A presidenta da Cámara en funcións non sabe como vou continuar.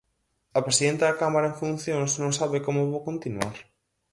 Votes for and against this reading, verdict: 4, 0, accepted